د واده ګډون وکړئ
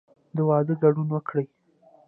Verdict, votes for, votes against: rejected, 1, 2